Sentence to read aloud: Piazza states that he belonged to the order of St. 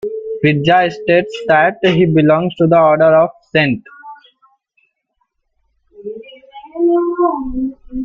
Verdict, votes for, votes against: rejected, 0, 2